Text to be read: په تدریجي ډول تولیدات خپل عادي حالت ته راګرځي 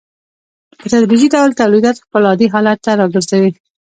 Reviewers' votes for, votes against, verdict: 2, 0, accepted